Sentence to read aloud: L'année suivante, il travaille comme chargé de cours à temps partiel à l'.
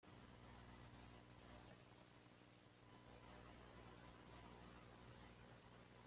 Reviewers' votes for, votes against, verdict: 0, 2, rejected